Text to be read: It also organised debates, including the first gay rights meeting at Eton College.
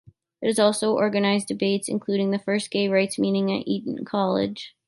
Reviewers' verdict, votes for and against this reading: rejected, 1, 2